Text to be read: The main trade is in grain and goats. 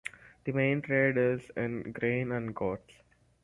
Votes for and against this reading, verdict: 4, 0, accepted